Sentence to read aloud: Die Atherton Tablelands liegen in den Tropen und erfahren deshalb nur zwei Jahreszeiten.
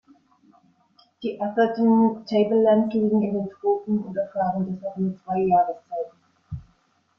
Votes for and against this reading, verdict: 0, 2, rejected